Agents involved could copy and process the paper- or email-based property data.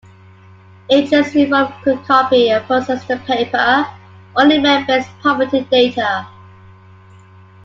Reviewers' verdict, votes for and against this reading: accepted, 2, 0